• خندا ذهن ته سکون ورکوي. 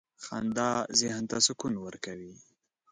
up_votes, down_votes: 2, 0